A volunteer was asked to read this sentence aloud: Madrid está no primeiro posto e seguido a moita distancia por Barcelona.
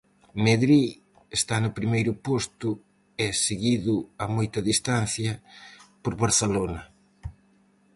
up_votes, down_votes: 2, 2